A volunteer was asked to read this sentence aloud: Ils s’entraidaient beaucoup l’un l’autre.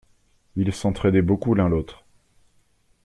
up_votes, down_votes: 2, 0